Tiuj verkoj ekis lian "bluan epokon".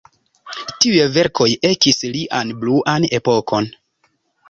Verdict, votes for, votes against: accepted, 2, 1